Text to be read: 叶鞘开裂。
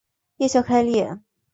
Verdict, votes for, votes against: accepted, 2, 0